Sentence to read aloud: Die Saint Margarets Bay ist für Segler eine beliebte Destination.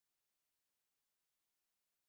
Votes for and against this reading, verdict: 0, 2, rejected